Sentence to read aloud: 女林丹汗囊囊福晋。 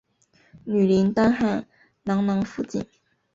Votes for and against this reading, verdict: 2, 0, accepted